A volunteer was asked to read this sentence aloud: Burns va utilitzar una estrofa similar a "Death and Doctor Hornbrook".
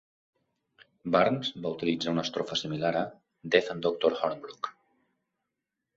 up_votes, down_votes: 2, 0